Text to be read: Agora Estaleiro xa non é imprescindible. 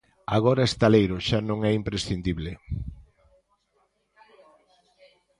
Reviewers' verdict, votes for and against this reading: rejected, 1, 2